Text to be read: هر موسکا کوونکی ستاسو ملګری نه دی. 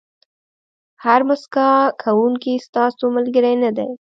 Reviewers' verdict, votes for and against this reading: accepted, 2, 0